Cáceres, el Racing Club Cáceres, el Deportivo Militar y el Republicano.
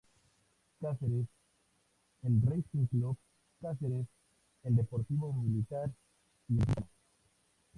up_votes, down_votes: 0, 2